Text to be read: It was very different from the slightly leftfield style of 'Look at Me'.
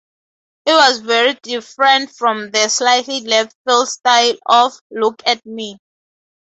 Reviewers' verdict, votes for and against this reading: accepted, 2, 0